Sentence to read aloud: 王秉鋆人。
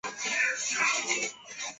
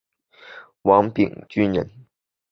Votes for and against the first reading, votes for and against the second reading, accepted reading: 0, 2, 5, 0, second